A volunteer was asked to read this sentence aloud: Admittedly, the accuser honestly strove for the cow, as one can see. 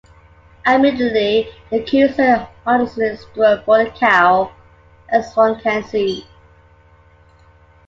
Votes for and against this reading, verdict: 3, 0, accepted